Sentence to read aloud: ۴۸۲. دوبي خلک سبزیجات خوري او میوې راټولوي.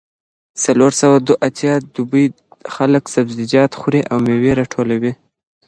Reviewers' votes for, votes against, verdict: 0, 2, rejected